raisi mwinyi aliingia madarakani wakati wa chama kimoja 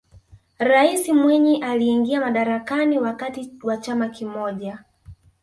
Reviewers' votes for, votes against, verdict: 1, 2, rejected